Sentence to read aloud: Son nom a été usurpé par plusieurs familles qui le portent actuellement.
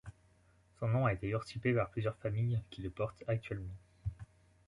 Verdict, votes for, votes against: rejected, 0, 2